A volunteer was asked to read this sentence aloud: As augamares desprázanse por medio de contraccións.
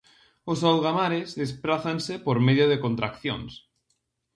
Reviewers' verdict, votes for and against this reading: rejected, 0, 2